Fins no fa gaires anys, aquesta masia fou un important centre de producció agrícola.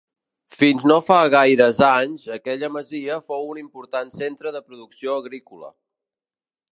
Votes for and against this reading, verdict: 0, 2, rejected